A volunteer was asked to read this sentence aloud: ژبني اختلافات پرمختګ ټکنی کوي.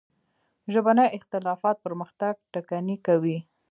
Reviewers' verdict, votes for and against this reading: rejected, 1, 2